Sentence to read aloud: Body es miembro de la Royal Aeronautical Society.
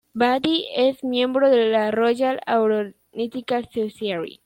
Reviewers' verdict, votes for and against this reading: rejected, 1, 2